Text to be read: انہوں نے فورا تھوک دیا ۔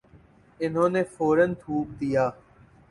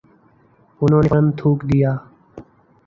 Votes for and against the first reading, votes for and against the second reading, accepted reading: 6, 1, 0, 2, first